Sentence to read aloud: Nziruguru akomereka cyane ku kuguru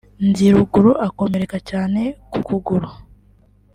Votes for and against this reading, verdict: 3, 1, accepted